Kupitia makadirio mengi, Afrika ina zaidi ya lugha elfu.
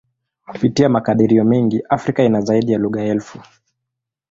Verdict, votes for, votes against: accepted, 2, 0